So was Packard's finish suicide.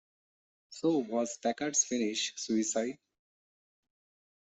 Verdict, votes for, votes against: accepted, 2, 0